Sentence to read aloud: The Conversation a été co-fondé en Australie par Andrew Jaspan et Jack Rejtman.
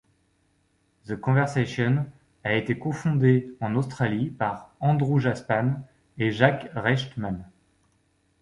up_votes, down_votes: 2, 0